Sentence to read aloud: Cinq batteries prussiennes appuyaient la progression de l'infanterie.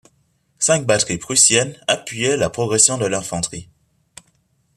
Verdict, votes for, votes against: accepted, 2, 0